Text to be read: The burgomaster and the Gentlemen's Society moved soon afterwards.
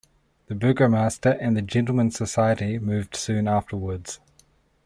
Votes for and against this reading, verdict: 2, 0, accepted